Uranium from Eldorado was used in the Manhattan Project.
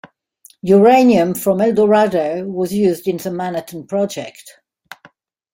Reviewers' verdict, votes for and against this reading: rejected, 0, 2